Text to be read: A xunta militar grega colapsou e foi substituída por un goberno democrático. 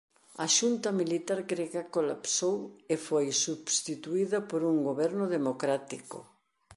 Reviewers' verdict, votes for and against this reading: accepted, 3, 0